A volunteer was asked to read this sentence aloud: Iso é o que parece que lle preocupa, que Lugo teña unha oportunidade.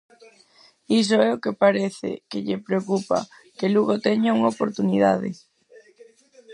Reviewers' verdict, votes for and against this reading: rejected, 0, 4